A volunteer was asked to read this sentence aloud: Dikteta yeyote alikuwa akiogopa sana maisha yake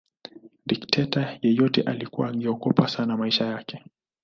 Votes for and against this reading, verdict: 2, 0, accepted